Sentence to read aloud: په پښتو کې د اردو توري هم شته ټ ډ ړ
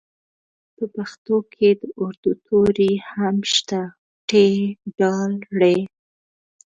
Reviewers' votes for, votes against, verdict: 2, 1, accepted